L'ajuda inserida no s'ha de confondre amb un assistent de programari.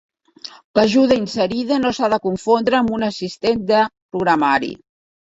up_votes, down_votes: 3, 0